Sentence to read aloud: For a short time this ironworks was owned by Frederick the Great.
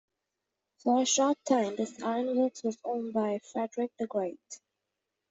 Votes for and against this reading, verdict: 2, 0, accepted